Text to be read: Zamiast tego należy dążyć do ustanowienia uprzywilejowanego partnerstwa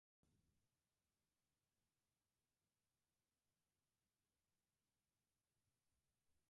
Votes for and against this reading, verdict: 0, 4, rejected